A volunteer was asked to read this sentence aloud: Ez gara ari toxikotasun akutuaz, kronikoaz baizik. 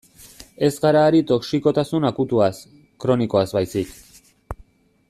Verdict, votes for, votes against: accepted, 2, 0